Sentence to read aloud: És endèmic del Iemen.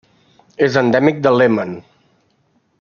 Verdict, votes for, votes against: rejected, 1, 2